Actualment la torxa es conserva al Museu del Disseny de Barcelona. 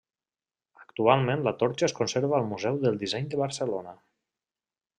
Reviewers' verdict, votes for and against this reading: accepted, 3, 0